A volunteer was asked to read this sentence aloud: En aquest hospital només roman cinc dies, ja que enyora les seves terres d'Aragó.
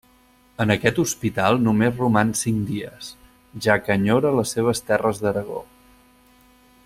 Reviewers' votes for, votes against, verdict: 4, 0, accepted